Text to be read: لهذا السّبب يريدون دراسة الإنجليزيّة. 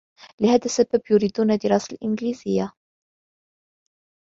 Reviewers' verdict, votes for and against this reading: rejected, 1, 2